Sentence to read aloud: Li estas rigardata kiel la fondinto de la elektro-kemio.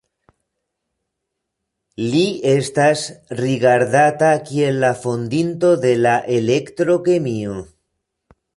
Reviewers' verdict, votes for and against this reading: accepted, 2, 1